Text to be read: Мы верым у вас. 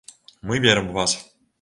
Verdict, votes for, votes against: accepted, 2, 0